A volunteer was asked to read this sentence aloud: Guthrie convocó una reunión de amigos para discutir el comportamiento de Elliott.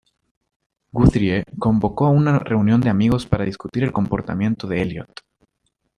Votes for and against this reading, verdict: 0, 2, rejected